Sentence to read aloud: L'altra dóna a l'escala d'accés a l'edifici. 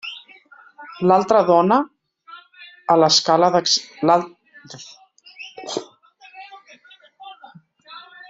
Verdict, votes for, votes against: rejected, 0, 2